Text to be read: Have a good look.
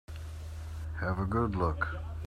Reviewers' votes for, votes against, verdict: 2, 0, accepted